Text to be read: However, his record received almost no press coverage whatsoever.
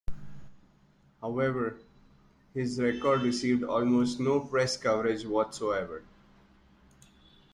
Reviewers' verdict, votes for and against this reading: rejected, 1, 2